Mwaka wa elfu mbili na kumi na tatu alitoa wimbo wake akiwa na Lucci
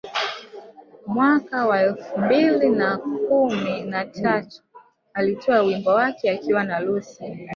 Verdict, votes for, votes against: rejected, 1, 2